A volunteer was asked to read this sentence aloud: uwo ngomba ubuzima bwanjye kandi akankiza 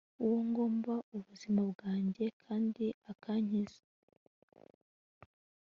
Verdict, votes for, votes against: accepted, 2, 0